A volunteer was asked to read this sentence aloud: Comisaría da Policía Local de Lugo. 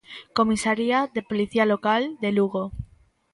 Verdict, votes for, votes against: rejected, 0, 2